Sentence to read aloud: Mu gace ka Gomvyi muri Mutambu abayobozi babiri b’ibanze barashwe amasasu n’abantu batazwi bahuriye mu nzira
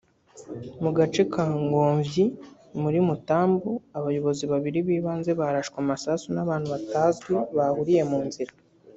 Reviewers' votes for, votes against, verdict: 2, 0, accepted